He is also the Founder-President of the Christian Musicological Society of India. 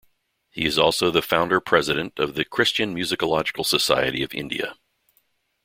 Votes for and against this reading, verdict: 2, 0, accepted